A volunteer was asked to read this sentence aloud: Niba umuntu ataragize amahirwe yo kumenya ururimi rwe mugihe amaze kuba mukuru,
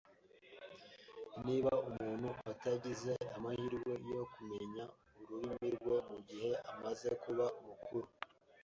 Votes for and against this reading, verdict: 1, 2, rejected